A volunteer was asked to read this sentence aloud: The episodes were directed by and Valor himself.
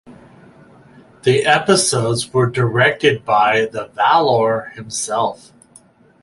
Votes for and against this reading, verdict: 0, 4, rejected